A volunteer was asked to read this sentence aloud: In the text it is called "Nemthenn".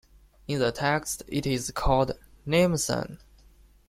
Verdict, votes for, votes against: rejected, 1, 2